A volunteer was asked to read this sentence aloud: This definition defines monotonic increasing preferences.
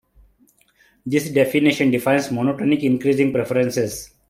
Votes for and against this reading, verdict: 2, 0, accepted